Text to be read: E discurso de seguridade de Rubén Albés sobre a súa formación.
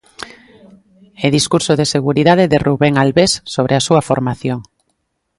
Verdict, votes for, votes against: accepted, 2, 0